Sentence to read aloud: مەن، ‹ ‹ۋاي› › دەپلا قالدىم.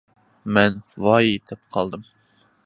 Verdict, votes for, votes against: rejected, 0, 2